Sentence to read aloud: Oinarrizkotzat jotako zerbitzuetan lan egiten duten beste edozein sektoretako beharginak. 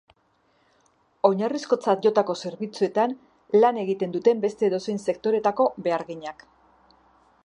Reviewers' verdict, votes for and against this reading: accepted, 2, 0